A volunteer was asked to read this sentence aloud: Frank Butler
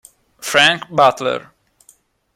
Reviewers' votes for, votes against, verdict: 2, 0, accepted